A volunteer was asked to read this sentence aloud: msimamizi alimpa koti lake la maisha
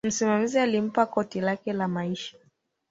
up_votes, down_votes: 2, 1